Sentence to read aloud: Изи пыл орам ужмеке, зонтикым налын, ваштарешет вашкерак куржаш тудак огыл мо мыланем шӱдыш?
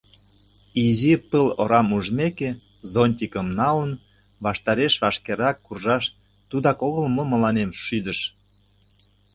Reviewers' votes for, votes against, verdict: 0, 2, rejected